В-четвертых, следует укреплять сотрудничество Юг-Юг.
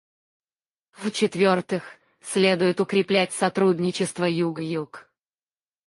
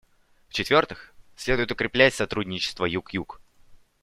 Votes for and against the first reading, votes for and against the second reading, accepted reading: 2, 4, 2, 0, second